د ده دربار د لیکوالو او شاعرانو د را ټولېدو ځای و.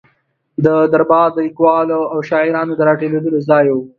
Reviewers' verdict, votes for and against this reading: accepted, 2, 0